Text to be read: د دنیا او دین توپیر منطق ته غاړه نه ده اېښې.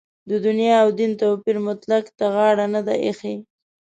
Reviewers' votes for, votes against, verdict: 0, 2, rejected